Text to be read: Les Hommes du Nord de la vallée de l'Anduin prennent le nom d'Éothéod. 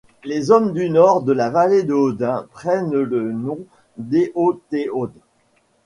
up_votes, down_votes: 1, 2